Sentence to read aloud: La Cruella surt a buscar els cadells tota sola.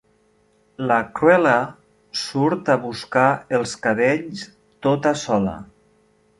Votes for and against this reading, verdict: 3, 0, accepted